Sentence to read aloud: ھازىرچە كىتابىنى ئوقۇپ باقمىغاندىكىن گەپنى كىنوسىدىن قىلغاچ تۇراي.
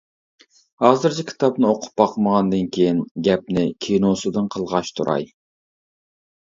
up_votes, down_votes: 1, 2